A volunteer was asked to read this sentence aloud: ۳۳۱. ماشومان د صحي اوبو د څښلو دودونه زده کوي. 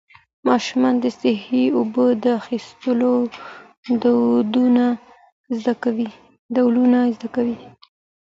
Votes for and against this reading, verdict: 0, 2, rejected